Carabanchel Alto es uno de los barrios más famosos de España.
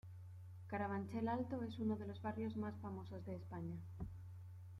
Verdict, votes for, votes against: accepted, 2, 0